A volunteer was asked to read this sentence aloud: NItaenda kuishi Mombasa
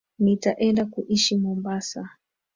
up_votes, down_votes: 2, 1